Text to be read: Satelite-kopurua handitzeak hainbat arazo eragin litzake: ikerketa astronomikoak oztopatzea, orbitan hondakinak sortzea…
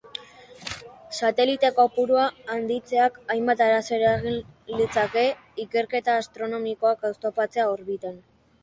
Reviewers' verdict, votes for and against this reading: rejected, 1, 2